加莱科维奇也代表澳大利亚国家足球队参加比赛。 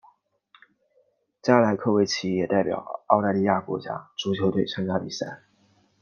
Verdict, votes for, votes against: accepted, 2, 0